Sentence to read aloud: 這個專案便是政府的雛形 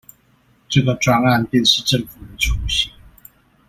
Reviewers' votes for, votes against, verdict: 2, 0, accepted